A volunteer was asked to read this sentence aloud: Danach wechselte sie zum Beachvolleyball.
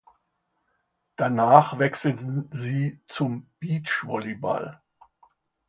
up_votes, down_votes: 0, 2